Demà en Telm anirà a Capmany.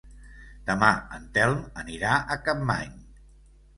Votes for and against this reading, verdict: 2, 0, accepted